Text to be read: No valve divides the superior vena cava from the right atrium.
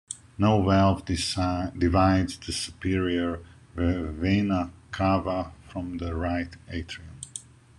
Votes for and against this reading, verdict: 2, 1, accepted